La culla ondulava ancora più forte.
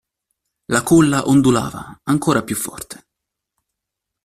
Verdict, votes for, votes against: accepted, 2, 0